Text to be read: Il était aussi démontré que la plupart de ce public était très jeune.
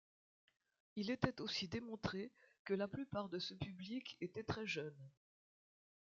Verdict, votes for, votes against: accepted, 2, 0